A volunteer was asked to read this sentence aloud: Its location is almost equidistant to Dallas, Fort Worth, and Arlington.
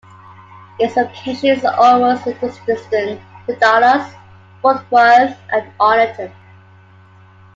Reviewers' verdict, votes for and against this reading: accepted, 2, 0